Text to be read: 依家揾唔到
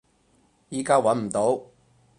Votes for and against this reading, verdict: 6, 0, accepted